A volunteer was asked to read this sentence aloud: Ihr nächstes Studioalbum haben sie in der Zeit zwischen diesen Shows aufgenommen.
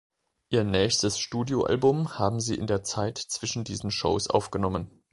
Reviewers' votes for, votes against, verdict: 3, 0, accepted